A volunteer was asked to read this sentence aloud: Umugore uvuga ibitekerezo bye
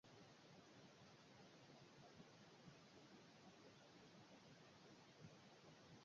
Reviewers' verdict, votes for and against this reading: rejected, 0, 2